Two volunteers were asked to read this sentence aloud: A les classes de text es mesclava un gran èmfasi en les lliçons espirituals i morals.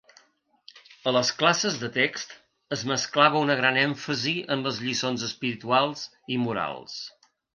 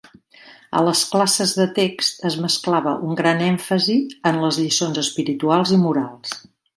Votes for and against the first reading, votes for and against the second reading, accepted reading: 0, 2, 2, 0, second